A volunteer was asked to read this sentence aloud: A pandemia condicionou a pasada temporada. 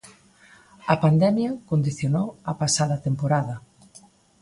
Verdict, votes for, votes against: accepted, 2, 0